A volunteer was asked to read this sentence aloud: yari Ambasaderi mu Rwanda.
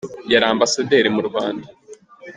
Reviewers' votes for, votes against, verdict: 3, 0, accepted